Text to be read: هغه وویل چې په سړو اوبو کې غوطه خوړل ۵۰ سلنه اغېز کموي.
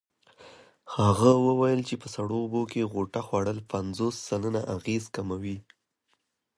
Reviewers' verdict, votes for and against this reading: rejected, 0, 2